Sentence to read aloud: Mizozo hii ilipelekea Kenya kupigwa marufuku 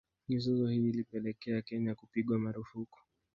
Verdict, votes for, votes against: rejected, 0, 2